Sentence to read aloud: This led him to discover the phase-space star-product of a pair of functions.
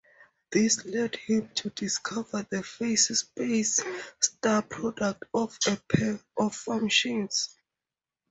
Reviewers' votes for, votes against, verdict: 2, 0, accepted